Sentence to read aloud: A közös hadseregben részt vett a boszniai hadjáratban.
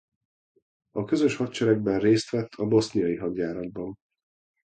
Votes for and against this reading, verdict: 2, 0, accepted